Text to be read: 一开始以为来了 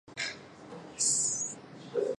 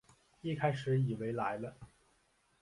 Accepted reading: second